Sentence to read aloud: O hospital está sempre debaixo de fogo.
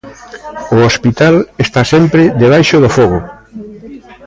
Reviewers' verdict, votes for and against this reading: rejected, 0, 2